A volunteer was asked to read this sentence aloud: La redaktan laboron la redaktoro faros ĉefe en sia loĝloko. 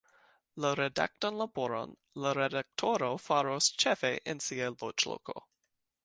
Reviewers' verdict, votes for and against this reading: rejected, 1, 2